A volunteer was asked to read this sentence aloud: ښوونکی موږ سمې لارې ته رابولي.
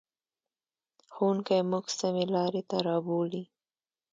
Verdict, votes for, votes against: accepted, 2, 0